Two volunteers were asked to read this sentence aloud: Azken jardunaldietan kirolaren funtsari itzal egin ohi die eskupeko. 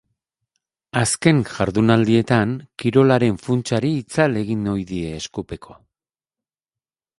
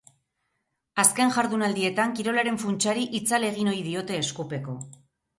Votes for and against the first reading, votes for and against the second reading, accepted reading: 12, 0, 2, 4, first